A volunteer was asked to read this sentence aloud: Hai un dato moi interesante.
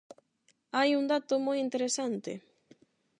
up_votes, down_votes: 8, 0